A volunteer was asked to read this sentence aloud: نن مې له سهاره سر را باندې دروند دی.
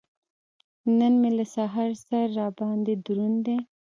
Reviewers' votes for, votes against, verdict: 2, 1, accepted